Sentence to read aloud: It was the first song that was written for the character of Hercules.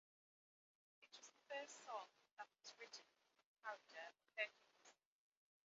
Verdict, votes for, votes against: rejected, 0, 2